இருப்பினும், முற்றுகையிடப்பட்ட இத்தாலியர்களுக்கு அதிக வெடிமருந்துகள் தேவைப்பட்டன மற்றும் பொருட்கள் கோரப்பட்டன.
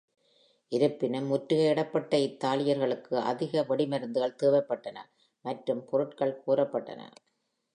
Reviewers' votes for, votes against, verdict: 2, 0, accepted